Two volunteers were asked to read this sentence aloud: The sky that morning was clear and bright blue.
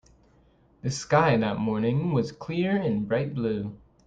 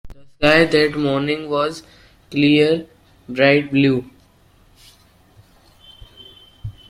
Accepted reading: first